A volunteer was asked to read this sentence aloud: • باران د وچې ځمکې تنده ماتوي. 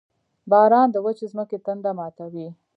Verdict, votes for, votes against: accepted, 2, 1